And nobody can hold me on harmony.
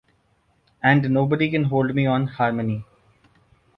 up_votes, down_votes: 2, 0